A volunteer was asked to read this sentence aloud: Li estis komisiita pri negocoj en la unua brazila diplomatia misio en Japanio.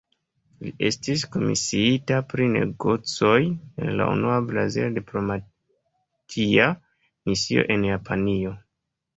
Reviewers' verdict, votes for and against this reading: accepted, 2, 0